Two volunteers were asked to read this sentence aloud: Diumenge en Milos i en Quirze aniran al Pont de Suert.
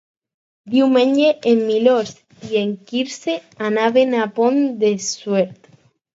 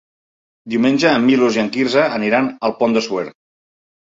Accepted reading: second